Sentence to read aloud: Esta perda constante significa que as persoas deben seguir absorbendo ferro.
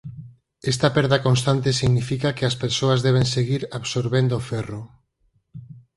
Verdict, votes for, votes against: accepted, 4, 0